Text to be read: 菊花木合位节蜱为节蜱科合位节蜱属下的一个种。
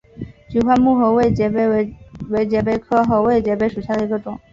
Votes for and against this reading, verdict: 2, 1, accepted